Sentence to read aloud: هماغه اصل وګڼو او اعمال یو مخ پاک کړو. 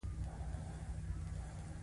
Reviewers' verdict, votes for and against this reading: accepted, 2, 0